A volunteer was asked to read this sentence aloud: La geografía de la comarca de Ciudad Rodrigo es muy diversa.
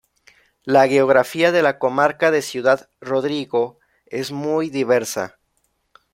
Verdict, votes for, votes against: rejected, 0, 2